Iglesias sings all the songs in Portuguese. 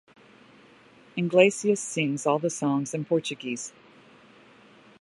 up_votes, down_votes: 0, 2